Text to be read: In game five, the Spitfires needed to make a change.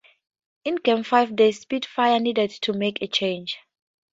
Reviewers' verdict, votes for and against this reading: accepted, 4, 0